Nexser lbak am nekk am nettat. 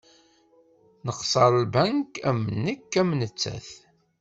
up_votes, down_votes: 1, 2